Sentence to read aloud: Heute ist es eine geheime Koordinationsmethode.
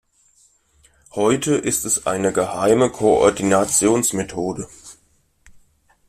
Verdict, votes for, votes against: rejected, 0, 2